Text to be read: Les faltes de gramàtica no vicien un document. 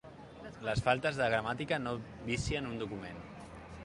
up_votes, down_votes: 2, 0